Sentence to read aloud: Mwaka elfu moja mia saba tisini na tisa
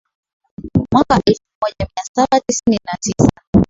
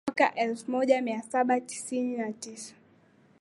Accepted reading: second